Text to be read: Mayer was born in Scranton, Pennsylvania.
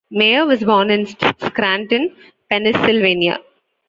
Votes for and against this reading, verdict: 2, 1, accepted